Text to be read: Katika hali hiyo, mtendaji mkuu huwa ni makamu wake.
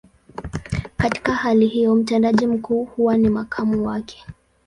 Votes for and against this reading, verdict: 2, 0, accepted